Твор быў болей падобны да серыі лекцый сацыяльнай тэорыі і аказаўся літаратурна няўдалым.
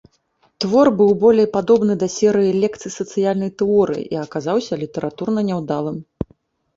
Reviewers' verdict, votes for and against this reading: accepted, 2, 0